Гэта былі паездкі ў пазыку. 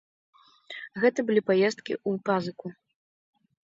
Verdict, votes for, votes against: rejected, 1, 2